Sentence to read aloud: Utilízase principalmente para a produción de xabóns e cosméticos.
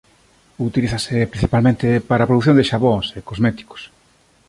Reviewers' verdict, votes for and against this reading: accepted, 2, 0